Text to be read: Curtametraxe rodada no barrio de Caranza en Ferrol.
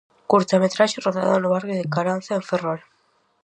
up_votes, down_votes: 4, 0